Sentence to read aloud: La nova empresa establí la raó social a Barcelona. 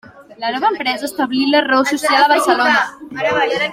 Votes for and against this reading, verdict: 3, 1, accepted